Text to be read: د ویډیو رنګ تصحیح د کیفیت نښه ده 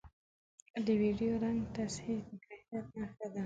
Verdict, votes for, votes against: accepted, 2, 0